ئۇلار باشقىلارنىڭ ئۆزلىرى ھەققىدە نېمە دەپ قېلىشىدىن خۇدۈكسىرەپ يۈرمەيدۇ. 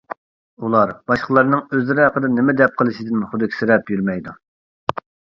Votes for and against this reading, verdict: 2, 0, accepted